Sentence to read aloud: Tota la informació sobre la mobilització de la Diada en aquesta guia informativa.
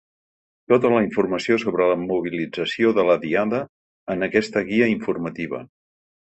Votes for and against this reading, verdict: 3, 0, accepted